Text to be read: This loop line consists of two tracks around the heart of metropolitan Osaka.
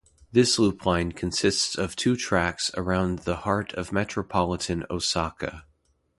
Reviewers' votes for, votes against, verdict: 2, 0, accepted